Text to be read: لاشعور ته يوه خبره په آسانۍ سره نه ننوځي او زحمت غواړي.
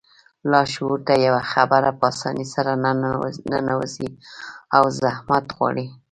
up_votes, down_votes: 1, 2